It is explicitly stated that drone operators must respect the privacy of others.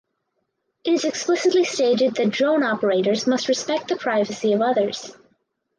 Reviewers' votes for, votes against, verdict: 2, 0, accepted